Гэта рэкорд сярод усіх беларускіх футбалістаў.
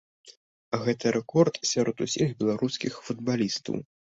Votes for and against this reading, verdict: 2, 0, accepted